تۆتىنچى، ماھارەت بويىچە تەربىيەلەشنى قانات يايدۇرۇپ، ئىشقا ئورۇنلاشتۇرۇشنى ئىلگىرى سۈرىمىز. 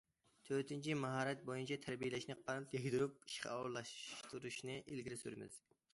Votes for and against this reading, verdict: 2, 1, accepted